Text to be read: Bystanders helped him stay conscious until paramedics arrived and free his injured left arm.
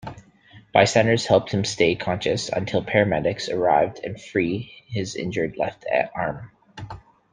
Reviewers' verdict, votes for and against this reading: accepted, 2, 0